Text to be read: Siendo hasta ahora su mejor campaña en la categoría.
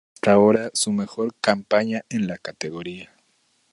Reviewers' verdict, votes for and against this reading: rejected, 0, 2